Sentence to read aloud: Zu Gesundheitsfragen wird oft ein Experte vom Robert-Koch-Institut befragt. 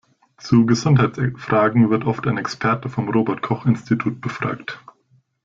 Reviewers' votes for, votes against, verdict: 1, 2, rejected